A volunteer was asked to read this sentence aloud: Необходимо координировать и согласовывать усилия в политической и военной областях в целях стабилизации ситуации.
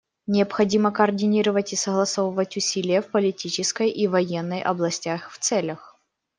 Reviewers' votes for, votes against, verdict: 1, 2, rejected